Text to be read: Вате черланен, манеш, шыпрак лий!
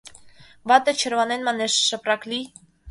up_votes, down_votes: 2, 0